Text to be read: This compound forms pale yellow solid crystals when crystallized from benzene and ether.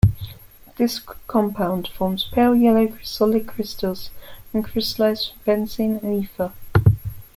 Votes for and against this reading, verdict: 0, 2, rejected